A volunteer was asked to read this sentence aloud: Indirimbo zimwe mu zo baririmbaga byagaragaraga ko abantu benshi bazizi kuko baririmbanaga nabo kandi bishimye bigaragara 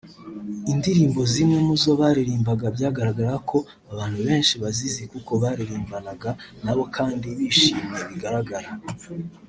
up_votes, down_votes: 2, 0